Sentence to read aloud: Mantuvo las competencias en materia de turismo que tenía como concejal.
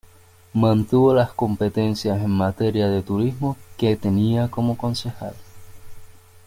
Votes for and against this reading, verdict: 1, 2, rejected